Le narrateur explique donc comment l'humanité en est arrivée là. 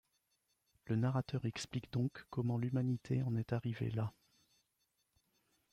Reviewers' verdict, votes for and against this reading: rejected, 1, 2